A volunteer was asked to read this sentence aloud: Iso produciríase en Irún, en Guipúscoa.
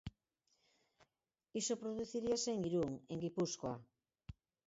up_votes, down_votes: 4, 0